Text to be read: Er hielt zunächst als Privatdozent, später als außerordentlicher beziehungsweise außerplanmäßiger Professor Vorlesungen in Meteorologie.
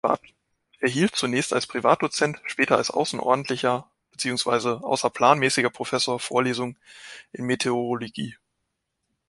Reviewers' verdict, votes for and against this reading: rejected, 0, 2